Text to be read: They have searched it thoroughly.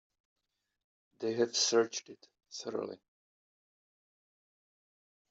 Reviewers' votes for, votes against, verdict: 3, 0, accepted